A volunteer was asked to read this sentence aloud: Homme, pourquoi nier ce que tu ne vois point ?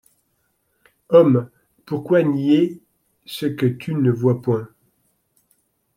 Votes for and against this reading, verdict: 2, 0, accepted